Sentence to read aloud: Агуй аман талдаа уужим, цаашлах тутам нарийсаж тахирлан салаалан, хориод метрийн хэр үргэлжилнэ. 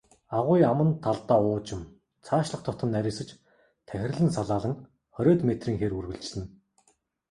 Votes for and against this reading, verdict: 2, 0, accepted